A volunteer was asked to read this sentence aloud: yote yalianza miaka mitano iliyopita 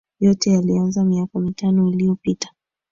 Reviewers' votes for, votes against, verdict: 2, 1, accepted